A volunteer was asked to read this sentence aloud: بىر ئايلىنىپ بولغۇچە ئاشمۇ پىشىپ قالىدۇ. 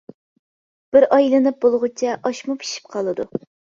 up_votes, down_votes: 2, 0